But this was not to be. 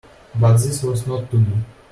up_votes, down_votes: 2, 1